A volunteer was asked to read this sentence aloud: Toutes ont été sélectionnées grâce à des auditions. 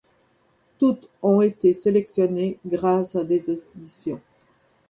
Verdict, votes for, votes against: rejected, 0, 2